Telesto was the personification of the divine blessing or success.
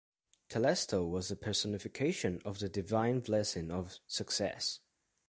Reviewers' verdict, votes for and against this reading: rejected, 1, 2